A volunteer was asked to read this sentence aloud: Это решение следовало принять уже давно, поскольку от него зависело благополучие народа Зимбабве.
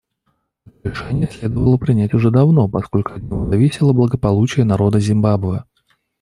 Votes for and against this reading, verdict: 1, 2, rejected